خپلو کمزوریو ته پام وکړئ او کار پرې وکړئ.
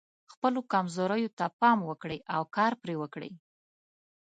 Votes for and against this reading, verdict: 2, 0, accepted